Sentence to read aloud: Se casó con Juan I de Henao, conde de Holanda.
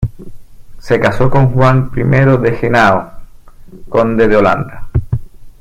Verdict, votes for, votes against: rejected, 1, 2